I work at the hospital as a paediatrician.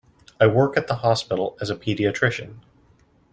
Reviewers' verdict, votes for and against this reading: accepted, 2, 0